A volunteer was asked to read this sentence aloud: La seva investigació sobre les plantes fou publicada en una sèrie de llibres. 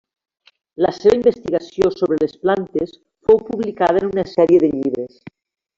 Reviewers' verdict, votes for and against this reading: rejected, 1, 2